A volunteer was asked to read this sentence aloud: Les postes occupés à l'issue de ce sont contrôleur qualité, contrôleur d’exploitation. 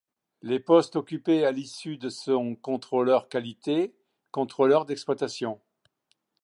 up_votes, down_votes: 1, 2